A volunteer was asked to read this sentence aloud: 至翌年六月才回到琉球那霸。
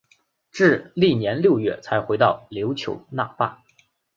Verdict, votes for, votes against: accepted, 2, 0